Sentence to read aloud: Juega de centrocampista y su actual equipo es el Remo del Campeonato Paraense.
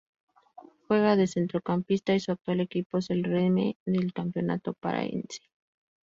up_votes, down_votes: 2, 2